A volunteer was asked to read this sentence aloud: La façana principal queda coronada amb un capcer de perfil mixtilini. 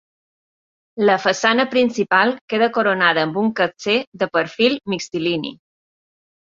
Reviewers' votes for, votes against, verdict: 2, 0, accepted